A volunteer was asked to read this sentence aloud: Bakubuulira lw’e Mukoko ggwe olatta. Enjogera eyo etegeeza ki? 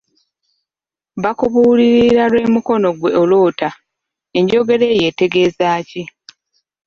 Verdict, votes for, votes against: rejected, 1, 2